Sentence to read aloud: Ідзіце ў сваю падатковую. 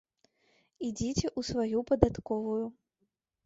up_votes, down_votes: 0, 2